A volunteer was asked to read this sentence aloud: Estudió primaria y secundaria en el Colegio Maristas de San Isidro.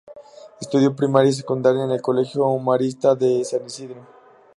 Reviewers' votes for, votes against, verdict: 2, 0, accepted